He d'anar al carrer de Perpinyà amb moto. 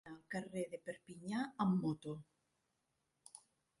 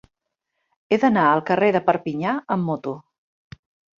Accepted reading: second